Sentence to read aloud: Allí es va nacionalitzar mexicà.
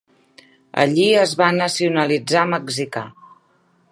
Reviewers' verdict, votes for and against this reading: accepted, 3, 0